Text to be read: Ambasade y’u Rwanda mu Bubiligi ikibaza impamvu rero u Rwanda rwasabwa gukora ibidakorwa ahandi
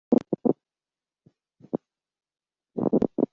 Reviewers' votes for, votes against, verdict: 0, 2, rejected